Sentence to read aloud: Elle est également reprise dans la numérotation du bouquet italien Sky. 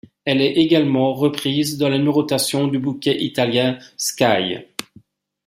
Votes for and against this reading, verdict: 2, 0, accepted